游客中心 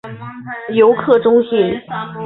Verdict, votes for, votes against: accepted, 2, 1